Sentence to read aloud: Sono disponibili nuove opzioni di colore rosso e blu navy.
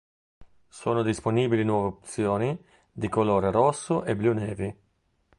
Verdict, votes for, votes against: accepted, 2, 0